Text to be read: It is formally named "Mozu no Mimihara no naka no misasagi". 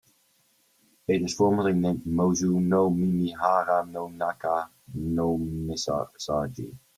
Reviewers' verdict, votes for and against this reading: rejected, 1, 2